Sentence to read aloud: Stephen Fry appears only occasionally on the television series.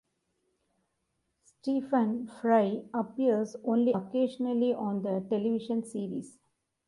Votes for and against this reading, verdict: 2, 0, accepted